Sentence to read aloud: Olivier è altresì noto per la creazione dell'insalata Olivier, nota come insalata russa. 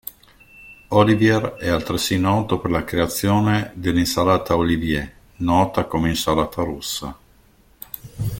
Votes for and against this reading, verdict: 2, 0, accepted